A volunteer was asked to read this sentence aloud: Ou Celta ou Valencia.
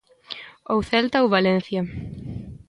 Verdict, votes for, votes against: accepted, 2, 0